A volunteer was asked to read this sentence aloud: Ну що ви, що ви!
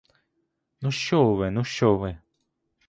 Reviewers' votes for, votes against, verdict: 0, 2, rejected